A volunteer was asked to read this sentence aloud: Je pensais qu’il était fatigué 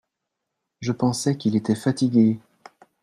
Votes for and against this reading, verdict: 2, 0, accepted